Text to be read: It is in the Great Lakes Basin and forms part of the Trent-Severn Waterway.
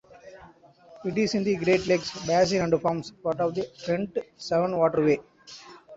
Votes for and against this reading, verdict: 2, 1, accepted